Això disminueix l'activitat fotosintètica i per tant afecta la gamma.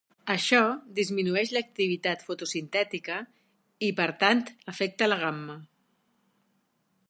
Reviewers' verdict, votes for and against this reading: accepted, 4, 0